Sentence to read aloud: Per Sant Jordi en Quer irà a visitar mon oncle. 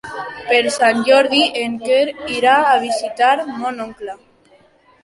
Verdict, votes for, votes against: accepted, 2, 1